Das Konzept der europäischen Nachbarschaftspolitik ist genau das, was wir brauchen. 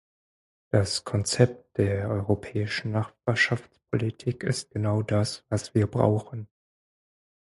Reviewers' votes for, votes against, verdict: 0, 4, rejected